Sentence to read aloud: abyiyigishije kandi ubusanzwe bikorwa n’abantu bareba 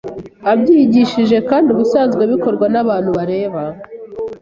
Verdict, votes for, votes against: accepted, 2, 0